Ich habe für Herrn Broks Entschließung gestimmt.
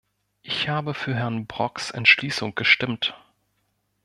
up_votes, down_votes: 2, 1